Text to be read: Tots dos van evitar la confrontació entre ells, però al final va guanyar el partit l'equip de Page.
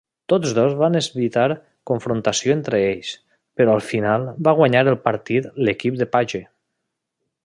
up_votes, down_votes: 0, 2